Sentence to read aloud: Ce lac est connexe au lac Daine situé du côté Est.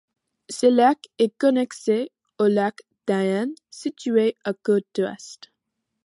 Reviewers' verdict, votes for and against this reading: rejected, 0, 2